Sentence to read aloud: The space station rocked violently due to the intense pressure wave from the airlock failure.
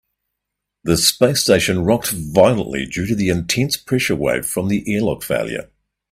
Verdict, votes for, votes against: accepted, 2, 0